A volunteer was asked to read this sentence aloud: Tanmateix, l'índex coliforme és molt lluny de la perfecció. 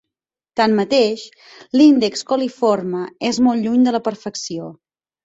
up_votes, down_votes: 8, 0